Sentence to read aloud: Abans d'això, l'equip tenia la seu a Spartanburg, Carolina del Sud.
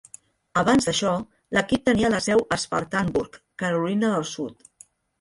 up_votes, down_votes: 1, 2